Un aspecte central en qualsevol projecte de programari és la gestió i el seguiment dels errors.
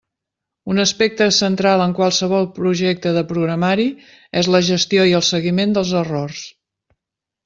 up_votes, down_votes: 3, 0